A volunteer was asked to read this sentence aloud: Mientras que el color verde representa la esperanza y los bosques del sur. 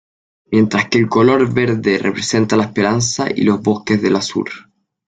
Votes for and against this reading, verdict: 0, 2, rejected